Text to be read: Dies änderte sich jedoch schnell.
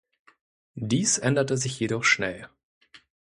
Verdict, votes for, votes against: accepted, 2, 0